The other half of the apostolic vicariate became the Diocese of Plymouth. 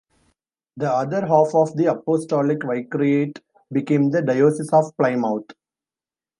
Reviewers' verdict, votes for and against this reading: rejected, 0, 2